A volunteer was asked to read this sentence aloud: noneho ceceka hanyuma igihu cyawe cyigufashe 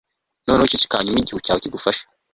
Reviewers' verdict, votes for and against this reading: rejected, 0, 2